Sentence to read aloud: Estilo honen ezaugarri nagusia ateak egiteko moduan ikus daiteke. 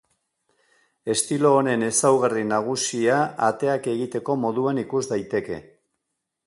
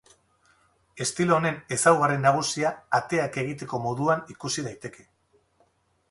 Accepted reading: first